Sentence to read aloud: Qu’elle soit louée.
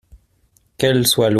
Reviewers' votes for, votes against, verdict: 0, 2, rejected